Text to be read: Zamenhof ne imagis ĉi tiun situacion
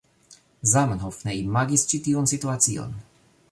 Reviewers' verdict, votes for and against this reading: accepted, 2, 1